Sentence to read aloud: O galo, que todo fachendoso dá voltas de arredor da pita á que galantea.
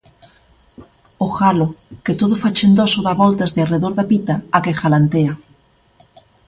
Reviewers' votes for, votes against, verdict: 2, 0, accepted